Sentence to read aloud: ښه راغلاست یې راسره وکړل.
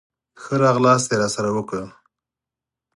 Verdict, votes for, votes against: accepted, 4, 0